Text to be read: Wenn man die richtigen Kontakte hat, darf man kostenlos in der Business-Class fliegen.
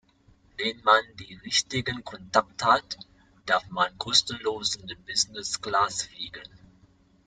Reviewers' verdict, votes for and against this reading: rejected, 0, 2